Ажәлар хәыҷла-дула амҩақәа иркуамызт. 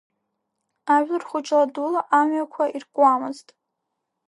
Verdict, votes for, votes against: rejected, 0, 2